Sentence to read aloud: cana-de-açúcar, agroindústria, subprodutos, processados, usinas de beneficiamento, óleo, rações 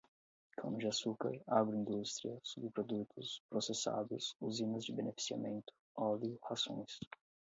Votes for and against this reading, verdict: 4, 4, rejected